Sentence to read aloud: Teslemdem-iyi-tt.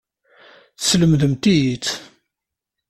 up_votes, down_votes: 1, 2